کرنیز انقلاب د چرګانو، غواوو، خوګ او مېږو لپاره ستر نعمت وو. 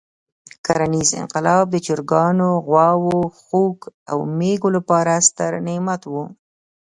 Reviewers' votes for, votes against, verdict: 2, 0, accepted